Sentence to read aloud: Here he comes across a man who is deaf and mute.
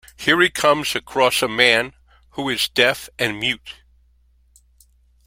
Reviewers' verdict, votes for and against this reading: accepted, 2, 0